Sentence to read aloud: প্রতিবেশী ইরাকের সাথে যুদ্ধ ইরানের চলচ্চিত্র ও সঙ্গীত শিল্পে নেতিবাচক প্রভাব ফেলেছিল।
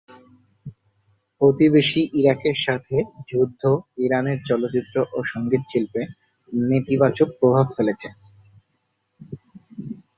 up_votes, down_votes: 0, 2